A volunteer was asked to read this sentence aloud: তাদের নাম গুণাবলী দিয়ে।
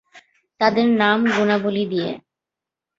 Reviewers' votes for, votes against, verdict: 19, 1, accepted